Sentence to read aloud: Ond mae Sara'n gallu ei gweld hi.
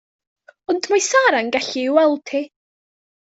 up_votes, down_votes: 2, 1